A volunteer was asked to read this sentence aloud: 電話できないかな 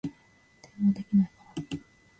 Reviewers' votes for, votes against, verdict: 0, 2, rejected